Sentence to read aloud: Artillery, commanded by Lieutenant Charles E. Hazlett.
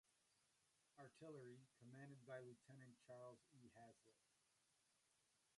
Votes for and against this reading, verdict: 0, 2, rejected